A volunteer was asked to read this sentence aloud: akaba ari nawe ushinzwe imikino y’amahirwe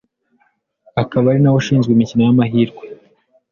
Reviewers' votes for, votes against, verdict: 2, 0, accepted